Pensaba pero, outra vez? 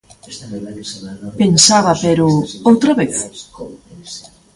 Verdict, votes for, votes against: rejected, 2, 3